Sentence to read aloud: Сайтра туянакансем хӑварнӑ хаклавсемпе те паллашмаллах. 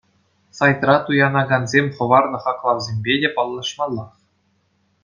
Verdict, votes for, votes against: accepted, 2, 0